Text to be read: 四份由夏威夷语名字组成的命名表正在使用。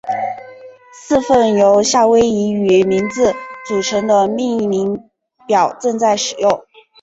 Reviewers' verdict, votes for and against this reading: rejected, 1, 2